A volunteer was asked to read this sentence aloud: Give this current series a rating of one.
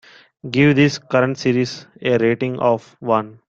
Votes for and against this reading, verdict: 2, 0, accepted